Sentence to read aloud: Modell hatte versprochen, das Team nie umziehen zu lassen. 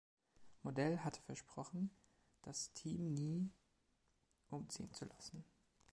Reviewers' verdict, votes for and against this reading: accepted, 2, 0